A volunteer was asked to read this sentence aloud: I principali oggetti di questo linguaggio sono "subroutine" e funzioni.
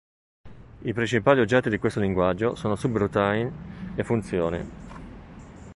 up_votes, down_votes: 1, 2